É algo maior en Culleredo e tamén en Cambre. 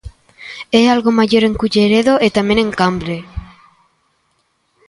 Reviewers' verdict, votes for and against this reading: accepted, 2, 0